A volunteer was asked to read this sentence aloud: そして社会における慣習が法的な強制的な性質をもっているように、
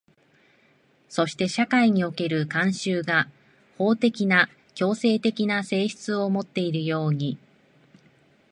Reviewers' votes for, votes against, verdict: 2, 0, accepted